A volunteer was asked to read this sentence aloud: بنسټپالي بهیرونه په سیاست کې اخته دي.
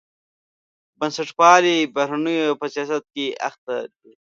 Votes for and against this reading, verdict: 1, 2, rejected